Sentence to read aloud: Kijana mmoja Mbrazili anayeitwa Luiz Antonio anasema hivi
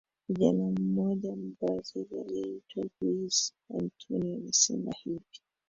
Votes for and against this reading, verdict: 1, 2, rejected